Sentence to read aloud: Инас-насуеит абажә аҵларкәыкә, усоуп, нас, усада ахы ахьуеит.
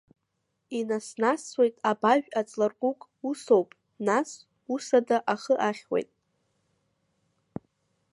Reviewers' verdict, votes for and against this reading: rejected, 1, 2